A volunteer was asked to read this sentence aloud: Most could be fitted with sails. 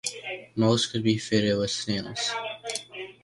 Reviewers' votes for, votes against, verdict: 0, 2, rejected